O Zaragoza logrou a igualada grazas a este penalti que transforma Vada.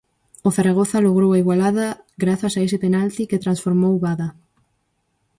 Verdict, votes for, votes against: rejected, 0, 4